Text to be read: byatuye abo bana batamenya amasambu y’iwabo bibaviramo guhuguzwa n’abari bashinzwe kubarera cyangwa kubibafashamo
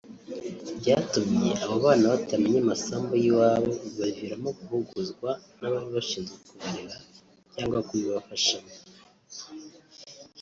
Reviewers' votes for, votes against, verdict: 0, 2, rejected